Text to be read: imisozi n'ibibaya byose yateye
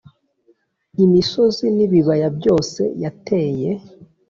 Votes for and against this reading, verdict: 2, 0, accepted